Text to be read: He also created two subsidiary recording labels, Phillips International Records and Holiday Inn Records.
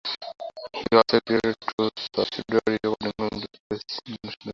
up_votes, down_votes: 0, 2